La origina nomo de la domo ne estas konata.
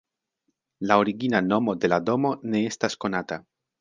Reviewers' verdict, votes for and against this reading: accepted, 2, 1